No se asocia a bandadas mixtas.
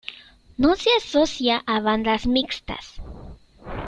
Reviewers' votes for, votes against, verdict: 0, 2, rejected